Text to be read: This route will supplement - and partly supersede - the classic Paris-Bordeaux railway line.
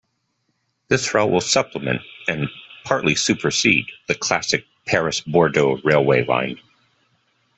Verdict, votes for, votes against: accepted, 2, 0